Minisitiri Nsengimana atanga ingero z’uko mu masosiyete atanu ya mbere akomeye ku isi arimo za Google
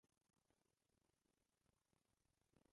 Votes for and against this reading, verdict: 0, 2, rejected